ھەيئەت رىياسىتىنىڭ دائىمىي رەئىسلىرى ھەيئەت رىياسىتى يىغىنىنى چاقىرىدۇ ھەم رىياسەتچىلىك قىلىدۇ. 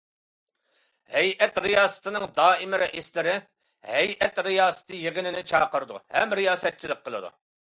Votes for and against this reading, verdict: 2, 0, accepted